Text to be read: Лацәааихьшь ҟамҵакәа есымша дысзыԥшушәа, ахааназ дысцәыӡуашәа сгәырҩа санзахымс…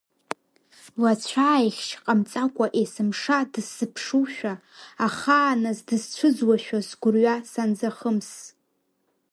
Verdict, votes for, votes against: accepted, 2, 0